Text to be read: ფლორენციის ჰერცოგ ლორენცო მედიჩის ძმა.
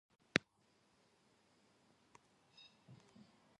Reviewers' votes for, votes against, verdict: 0, 2, rejected